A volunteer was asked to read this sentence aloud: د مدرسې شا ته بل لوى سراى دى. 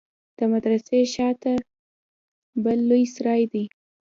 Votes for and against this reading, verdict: 2, 1, accepted